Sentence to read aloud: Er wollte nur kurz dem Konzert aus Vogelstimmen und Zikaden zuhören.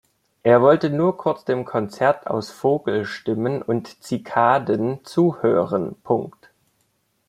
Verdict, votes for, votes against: accepted, 2, 1